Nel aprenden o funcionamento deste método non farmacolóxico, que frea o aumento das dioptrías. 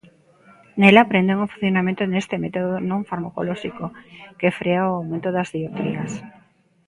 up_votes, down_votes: 2, 0